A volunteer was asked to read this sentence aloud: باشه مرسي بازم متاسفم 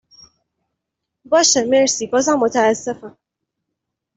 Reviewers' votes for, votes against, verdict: 2, 0, accepted